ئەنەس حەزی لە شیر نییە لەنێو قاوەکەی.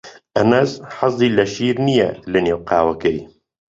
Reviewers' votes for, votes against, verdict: 2, 0, accepted